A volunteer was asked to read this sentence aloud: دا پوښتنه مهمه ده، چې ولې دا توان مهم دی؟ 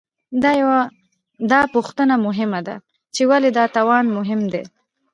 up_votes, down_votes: 2, 1